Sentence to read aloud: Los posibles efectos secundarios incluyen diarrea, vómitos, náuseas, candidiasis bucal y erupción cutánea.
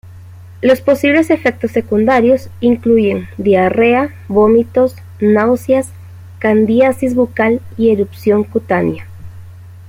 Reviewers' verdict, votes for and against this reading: rejected, 1, 2